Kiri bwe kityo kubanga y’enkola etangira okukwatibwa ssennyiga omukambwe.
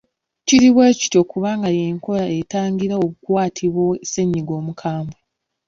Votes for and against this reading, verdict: 2, 0, accepted